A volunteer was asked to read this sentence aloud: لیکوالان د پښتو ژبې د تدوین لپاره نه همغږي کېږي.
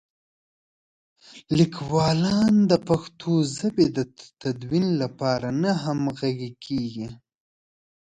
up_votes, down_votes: 2, 0